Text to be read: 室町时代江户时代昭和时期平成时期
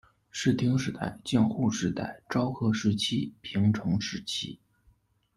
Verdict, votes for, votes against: accepted, 2, 0